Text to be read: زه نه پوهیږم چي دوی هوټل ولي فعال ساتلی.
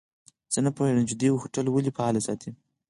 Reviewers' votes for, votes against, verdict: 6, 0, accepted